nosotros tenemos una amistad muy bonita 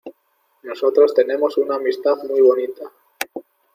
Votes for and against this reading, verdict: 2, 0, accepted